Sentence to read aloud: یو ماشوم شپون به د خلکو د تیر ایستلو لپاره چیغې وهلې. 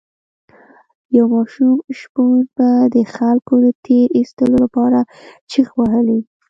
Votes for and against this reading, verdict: 1, 2, rejected